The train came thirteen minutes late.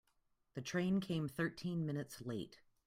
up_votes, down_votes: 2, 0